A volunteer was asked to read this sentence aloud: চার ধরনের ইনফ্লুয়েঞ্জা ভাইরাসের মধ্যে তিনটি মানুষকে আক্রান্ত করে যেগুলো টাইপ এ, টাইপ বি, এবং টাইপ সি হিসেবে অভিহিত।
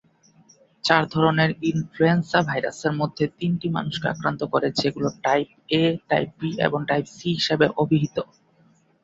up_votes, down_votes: 18, 6